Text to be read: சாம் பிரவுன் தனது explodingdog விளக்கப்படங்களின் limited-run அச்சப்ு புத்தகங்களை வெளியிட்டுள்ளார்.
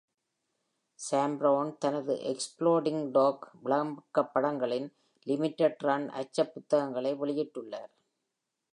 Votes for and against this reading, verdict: 2, 0, accepted